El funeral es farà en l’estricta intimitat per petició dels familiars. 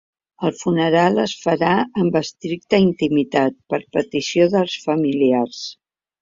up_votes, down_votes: 1, 2